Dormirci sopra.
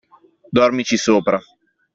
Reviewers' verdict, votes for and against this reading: accepted, 2, 1